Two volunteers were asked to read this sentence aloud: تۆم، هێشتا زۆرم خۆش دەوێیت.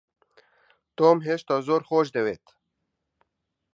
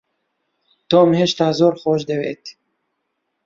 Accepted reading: second